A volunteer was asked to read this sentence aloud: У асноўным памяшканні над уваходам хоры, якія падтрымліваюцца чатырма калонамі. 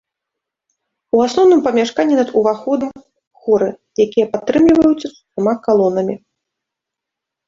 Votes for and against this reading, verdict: 0, 2, rejected